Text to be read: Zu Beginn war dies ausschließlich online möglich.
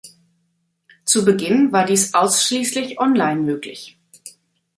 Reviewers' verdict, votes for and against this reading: accepted, 2, 0